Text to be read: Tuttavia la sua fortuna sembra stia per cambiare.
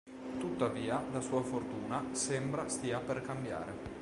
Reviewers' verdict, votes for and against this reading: accepted, 2, 0